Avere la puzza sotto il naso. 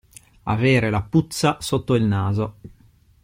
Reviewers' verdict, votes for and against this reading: accepted, 2, 0